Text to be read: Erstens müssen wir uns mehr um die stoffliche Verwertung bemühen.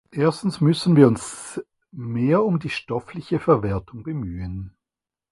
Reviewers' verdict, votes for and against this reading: accepted, 4, 0